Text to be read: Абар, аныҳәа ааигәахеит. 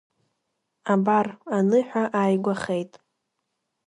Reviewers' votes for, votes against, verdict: 2, 0, accepted